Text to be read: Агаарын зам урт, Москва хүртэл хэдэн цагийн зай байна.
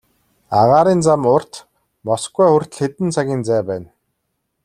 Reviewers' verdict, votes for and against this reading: accepted, 2, 0